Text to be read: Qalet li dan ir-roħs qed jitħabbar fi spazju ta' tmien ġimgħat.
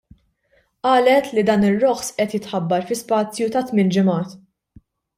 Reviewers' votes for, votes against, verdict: 1, 2, rejected